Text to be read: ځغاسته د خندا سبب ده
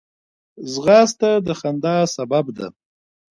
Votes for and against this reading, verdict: 1, 2, rejected